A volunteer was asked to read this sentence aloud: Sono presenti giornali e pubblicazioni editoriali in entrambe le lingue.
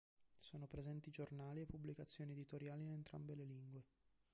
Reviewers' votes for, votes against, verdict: 1, 2, rejected